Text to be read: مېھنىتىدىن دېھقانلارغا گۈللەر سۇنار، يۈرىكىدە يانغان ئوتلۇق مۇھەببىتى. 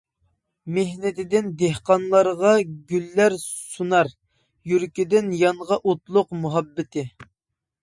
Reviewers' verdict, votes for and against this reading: rejected, 0, 2